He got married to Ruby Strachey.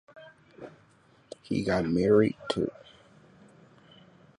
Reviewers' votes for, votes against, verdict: 0, 3, rejected